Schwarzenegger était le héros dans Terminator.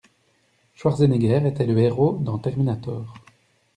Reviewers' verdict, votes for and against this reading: accepted, 2, 0